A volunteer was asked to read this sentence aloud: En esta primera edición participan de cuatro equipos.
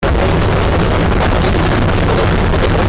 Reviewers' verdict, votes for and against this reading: rejected, 0, 2